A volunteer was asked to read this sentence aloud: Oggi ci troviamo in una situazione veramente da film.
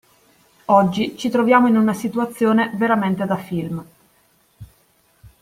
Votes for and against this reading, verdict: 2, 0, accepted